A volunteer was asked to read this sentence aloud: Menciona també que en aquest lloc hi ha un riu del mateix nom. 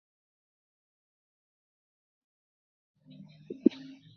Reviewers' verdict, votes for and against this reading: rejected, 0, 2